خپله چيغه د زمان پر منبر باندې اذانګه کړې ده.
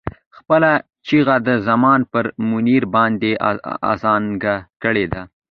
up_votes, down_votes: 1, 2